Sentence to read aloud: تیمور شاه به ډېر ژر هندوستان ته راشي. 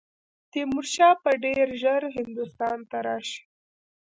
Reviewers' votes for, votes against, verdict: 2, 1, accepted